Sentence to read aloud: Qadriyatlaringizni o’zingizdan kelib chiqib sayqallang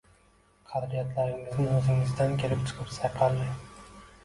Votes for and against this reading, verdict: 0, 2, rejected